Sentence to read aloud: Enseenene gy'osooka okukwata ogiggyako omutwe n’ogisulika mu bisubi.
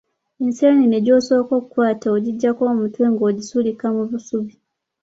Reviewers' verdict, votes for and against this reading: rejected, 1, 2